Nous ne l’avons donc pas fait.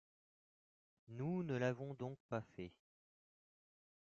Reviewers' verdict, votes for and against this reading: rejected, 1, 2